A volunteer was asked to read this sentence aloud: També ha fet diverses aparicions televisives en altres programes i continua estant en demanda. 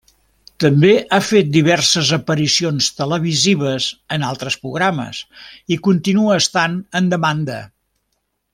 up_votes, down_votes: 0, 2